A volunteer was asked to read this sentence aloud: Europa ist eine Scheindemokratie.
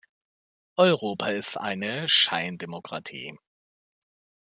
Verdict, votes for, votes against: accepted, 2, 0